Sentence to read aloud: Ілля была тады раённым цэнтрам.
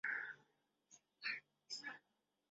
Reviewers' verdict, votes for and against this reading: rejected, 0, 2